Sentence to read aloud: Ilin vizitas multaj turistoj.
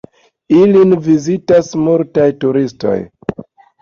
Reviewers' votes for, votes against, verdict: 2, 0, accepted